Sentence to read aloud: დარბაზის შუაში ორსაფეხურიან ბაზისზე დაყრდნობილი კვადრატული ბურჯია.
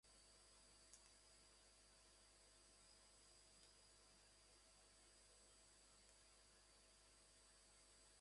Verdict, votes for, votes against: rejected, 1, 2